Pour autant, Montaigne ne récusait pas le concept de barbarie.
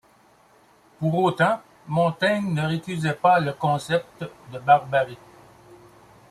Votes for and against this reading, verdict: 2, 0, accepted